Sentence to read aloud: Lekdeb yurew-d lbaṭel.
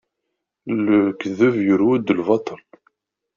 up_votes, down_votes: 2, 0